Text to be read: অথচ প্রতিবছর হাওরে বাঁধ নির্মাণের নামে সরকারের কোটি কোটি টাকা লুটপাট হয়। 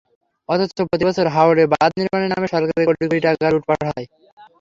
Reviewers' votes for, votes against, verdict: 0, 3, rejected